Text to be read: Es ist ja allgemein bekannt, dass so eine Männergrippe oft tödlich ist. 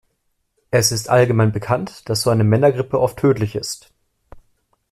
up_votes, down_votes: 0, 2